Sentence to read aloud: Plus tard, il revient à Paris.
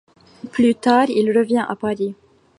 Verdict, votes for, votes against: accepted, 4, 0